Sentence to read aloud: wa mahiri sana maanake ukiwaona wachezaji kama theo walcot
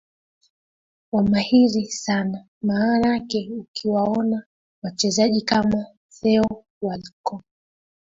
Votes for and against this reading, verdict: 4, 1, accepted